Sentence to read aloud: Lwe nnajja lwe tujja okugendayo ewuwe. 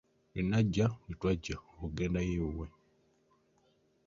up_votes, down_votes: 1, 2